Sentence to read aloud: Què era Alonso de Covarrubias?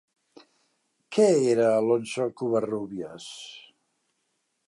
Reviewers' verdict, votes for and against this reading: rejected, 2, 3